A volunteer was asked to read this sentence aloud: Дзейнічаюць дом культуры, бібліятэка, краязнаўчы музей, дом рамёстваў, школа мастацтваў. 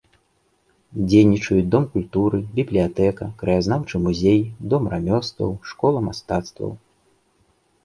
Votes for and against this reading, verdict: 2, 0, accepted